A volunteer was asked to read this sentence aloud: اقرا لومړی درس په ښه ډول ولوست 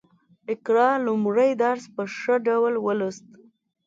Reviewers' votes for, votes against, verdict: 2, 0, accepted